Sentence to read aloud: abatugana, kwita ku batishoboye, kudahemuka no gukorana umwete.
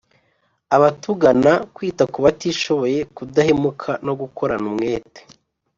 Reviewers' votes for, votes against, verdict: 2, 0, accepted